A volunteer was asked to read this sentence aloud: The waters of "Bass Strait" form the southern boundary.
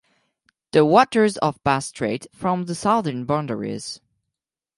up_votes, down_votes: 2, 4